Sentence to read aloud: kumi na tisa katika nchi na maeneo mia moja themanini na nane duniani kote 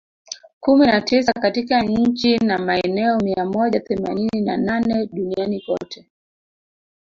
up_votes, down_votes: 4, 1